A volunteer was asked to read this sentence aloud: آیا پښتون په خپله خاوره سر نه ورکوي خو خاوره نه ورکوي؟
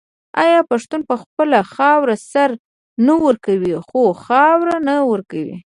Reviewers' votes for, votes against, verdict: 1, 2, rejected